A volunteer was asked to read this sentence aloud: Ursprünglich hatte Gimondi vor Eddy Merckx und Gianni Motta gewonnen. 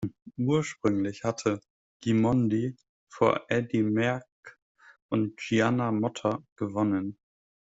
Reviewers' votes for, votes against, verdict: 0, 2, rejected